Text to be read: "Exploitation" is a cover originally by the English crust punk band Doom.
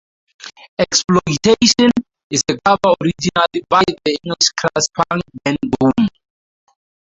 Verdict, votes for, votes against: rejected, 0, 6